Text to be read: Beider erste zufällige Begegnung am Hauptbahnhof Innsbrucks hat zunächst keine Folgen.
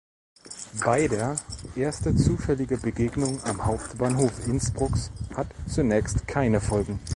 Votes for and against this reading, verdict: 2, 0, accepted